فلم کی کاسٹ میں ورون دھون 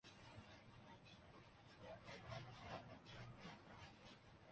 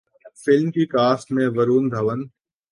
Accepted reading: second